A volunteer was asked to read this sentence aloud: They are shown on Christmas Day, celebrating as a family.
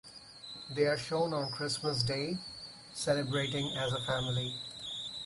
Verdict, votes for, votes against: accepted, 4, 2